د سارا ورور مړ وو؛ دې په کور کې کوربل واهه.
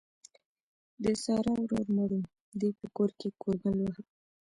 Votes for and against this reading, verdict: 1, 2, rejected